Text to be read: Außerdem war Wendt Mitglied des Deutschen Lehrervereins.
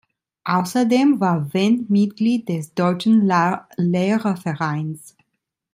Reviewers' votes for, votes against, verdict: 0, 2, rejected